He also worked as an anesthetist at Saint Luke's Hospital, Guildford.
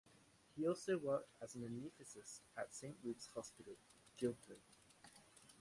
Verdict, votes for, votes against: rejected, 0, 2